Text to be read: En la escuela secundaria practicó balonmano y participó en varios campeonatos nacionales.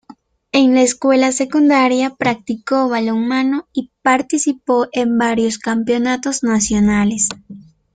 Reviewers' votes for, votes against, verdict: 2, 0, accepted